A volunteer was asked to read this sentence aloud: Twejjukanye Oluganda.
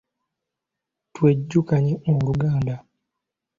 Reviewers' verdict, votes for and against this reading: accepted, 2, 0